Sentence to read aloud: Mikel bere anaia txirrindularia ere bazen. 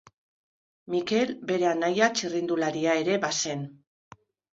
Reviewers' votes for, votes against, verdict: 2, 0, accepted